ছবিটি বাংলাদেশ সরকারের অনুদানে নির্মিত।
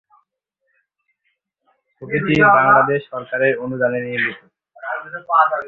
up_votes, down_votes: 0, 3